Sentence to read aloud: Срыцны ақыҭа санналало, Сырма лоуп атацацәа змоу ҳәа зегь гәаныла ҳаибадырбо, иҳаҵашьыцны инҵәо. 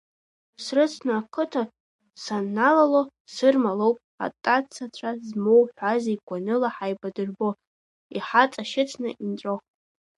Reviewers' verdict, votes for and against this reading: rejected, 0, 2